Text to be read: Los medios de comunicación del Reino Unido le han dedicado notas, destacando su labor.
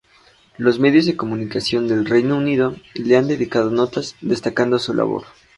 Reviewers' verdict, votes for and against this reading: accepted, 4, 0